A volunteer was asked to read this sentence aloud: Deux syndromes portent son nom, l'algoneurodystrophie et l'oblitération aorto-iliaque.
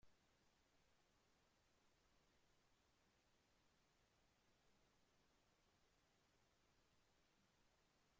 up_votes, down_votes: 0, 2